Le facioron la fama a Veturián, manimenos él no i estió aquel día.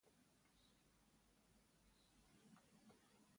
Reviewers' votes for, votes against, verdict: 1, 2, rejected